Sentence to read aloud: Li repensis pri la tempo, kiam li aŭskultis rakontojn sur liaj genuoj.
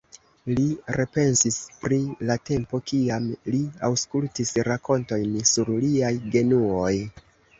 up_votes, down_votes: 1, 2